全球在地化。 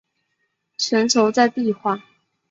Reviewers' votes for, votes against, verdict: 1, 2, rejected